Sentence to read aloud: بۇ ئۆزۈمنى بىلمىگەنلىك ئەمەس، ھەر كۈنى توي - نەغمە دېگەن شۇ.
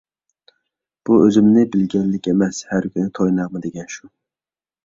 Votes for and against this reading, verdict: 0, 2, rejected